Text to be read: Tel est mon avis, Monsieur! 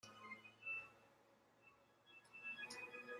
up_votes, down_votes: 0, 2